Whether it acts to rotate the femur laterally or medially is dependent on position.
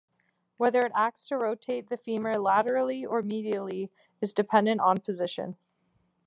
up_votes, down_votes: 2, 0